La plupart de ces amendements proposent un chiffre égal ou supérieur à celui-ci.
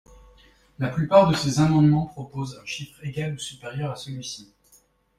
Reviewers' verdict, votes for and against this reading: rejected, 1, 2